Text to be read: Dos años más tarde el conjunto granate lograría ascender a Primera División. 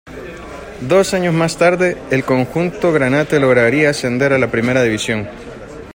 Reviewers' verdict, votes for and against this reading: rejected, 1, 2